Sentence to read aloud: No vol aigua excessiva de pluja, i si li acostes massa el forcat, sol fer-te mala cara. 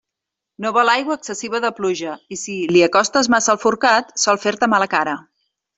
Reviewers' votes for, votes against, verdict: 3, 0, accepted